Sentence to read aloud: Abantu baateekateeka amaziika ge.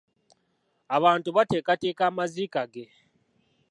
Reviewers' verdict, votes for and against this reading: rejected, 1, 2